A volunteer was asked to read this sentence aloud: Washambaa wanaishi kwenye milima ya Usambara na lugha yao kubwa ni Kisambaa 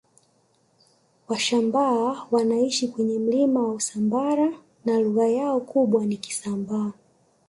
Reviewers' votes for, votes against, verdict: 1, 2, rejected